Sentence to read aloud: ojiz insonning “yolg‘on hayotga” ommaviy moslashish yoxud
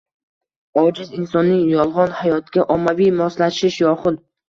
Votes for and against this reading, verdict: 2, 0, accepted